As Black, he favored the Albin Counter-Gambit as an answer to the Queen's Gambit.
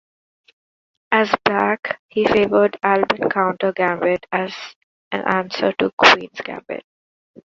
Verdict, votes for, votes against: rejected, 0, 2